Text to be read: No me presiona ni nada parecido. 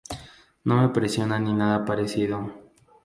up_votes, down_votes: 2, 0